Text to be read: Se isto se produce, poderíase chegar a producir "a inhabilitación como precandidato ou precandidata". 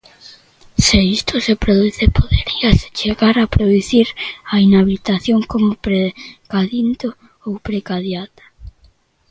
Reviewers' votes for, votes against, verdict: 0, 2, rejected